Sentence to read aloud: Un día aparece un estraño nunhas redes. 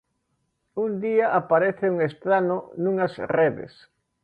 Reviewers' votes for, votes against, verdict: 0, 2, rejected